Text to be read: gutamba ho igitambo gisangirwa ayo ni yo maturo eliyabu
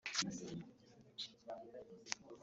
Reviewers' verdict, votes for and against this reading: rejected, 0, 3